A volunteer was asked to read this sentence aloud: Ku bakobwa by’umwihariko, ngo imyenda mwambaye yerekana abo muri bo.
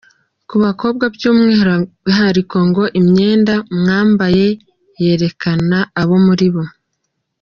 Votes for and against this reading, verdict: 0, 2, rejected